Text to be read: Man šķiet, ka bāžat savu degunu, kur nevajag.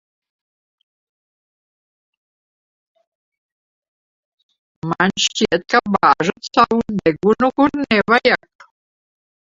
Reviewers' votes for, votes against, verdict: 1, 3, rejected